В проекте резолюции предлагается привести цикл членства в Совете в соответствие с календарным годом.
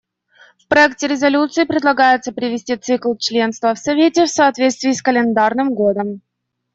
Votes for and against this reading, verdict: 2, 0, accepted